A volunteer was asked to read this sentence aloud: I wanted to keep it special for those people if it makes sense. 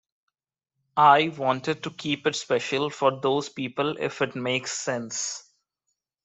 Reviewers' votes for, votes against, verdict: 2, 0, accepted